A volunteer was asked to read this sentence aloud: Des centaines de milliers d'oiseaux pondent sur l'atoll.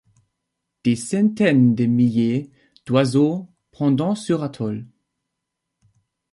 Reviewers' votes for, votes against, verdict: 0, 2, rejected